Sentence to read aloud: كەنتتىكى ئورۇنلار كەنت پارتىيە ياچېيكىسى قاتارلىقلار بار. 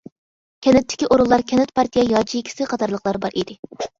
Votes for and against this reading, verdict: 0, 2, rejected